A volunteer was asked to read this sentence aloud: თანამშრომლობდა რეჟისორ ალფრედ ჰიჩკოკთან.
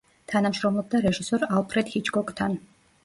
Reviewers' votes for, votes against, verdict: 2, 0, accepted